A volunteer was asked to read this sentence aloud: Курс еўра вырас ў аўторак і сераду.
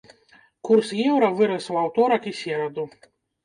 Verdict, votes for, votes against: rejected, 1, 2